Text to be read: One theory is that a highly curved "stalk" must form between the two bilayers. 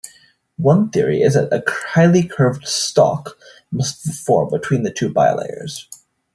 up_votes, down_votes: 0, 2